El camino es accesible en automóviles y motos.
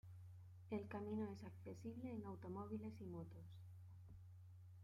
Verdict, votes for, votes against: accepted, 2, 0